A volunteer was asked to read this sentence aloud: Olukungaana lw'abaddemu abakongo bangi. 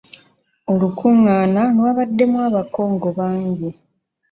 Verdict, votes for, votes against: rejected, 1, 2